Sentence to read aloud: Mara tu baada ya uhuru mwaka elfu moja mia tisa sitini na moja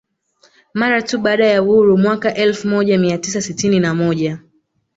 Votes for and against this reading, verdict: 2, 1, accepted